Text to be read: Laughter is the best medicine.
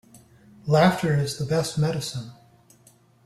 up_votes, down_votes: 2, 0